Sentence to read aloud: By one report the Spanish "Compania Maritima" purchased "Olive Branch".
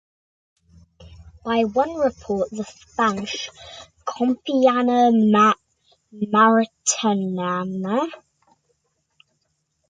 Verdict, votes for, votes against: rejected, 0, 2